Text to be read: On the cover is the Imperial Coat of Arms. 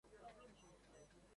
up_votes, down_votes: 0, 2